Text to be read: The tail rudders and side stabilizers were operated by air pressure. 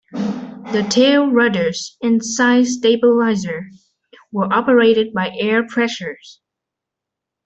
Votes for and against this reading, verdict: 0, 2, rejected